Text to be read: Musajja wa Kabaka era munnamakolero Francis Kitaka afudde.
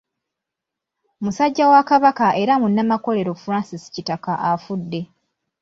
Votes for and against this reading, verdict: 2, 0, accepted